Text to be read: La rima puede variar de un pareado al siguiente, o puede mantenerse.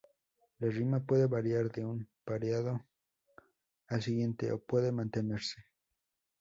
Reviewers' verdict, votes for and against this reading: accepted, 2, 0